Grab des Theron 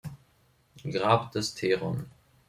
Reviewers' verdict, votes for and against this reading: accepted, 2, 0